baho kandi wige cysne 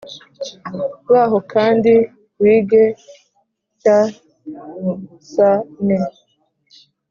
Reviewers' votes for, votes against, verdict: 1, 2, rejected